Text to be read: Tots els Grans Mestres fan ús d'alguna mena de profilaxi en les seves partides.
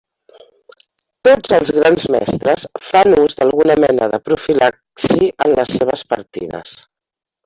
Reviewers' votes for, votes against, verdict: 0, 2, rejected